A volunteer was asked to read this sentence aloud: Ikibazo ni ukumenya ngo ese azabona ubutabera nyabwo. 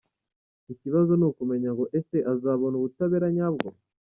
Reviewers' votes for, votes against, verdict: 1, 2, rejected